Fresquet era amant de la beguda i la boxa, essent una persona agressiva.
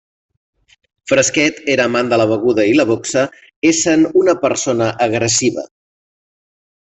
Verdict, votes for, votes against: rejected, 0, 2